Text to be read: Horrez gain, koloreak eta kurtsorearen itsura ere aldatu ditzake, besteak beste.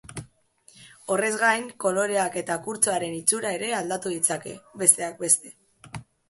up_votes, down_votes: 1, 3